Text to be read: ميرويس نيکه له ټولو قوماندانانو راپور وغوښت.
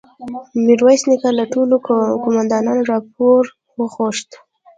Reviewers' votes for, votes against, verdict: 0, 2, rejected